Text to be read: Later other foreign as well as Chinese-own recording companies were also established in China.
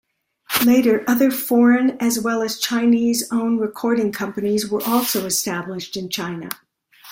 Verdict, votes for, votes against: accepted, 2, 0